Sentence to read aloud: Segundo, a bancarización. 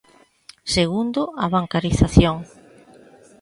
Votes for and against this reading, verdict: 2, 0, accepted